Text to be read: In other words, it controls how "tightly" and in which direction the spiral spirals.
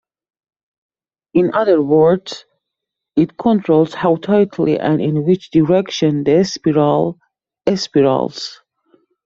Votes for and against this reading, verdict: 1, 2, rejected